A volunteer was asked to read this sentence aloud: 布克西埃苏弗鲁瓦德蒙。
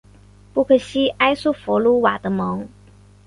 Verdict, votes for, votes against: accepted, 3, 0